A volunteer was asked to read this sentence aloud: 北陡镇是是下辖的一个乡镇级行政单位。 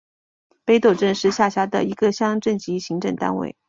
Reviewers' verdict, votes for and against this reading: accepted, 2, 0